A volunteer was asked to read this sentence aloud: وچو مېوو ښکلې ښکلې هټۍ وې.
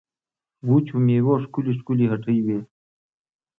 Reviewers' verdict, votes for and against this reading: accepted, 2, 0